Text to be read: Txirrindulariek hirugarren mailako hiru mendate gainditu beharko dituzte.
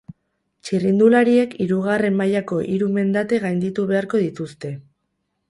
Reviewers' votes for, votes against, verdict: 0, 2, rejected